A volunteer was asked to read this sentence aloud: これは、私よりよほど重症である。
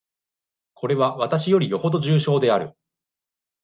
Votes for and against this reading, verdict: 2, 0, accepted